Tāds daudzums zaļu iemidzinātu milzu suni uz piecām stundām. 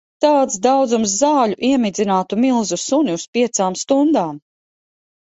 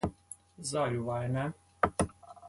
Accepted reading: first